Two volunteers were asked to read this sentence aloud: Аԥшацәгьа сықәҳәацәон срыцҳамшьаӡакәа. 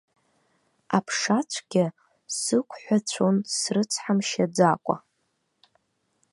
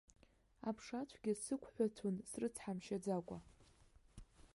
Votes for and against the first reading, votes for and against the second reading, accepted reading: 2, 0, 0, 2, first